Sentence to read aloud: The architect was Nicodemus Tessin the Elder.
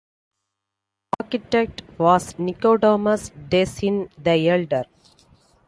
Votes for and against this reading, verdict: 0, 2, rejected